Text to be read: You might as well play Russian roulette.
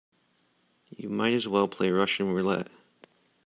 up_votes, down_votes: 2, 1